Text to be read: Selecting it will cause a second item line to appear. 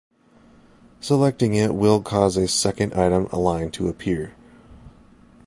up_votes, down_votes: 1, 2